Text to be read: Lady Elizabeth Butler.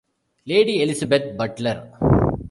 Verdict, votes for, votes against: accepted, 2, 0